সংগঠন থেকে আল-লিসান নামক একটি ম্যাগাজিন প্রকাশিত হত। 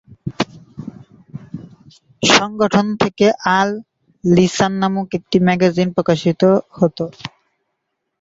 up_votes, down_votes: 2, 2